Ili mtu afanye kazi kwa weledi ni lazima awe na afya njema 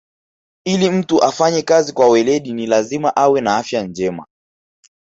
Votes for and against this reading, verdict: 1, 2, rejected